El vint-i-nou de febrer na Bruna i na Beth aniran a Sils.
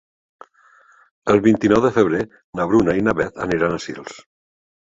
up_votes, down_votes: 3, 0